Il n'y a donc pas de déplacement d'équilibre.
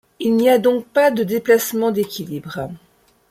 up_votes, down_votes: 2, 0